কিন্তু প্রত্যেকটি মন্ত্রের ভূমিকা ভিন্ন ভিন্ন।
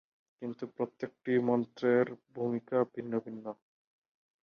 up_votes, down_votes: 2, 0